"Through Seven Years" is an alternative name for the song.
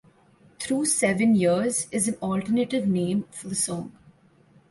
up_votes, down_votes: 1, 2